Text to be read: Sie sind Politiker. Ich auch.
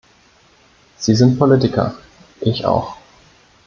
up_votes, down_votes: 2, 0